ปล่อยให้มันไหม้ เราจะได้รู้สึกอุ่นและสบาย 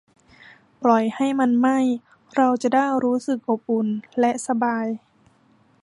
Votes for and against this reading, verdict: 0, 2, rejected